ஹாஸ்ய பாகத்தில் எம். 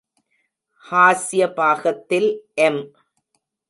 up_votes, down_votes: 2, 0